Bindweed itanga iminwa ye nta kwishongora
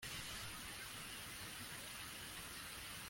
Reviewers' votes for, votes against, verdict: 0, 2, rejected